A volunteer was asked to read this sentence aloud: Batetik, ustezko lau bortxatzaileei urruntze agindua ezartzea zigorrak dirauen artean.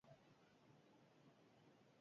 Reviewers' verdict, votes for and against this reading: rejected, 0, 2